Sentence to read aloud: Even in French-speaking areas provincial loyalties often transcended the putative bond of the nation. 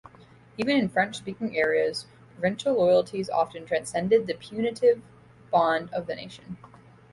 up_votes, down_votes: 2, 1